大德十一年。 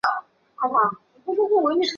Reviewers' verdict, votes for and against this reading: rejected, 1, 2